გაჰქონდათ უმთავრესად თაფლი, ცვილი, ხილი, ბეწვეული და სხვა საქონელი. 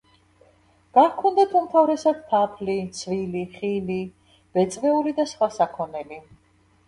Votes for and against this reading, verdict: 1, 2, rejected